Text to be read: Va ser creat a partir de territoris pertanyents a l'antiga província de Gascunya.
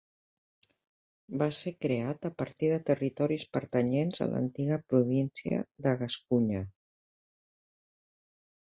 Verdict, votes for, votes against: accepted, 2, 0